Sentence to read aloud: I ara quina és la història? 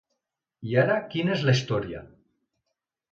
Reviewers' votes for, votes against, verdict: 3, 0, accepted